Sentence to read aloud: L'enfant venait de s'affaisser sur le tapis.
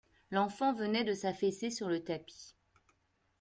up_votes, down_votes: 2, 0